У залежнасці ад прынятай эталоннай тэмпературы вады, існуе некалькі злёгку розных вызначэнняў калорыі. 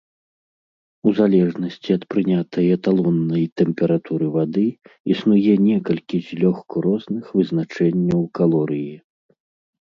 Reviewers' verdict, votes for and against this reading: accepted, 2, 0